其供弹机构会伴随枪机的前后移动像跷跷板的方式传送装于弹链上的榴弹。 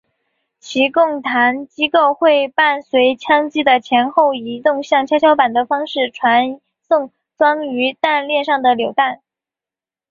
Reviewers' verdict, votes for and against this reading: accepted, 2, 0